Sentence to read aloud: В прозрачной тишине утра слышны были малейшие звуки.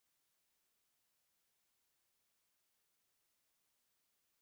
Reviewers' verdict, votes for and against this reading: rejected, 0, 14